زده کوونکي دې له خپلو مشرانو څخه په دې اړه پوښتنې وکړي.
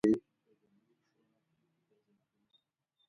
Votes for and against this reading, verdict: 0, 2, rejected